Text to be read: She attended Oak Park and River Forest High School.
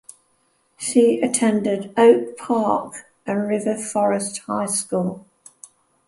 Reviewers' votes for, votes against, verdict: 0, 2, rejected